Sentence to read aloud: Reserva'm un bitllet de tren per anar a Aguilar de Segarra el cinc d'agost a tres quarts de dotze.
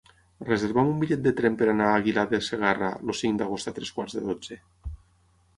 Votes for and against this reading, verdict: 3, 6, rejected